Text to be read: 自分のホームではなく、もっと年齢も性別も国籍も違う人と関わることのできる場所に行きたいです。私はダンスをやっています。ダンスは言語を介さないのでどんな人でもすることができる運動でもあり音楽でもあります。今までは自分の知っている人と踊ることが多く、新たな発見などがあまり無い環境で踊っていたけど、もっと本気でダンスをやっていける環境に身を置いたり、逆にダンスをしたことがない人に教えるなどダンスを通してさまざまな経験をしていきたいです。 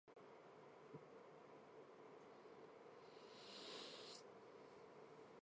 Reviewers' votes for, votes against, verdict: 0, 2, rejected